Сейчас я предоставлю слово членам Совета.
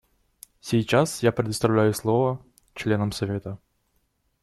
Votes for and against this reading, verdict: 1, 2, rejected